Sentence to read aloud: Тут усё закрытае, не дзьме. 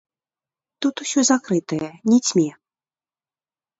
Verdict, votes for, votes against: rejected, 1, 2